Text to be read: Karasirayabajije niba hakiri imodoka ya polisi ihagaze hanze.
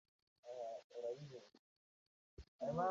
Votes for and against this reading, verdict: 0, 2, rejected